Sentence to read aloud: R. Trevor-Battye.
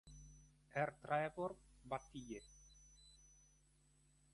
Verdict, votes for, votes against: rejected, 2, 3